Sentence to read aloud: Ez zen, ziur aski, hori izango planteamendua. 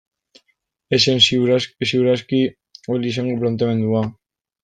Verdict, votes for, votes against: rejected, 1, 2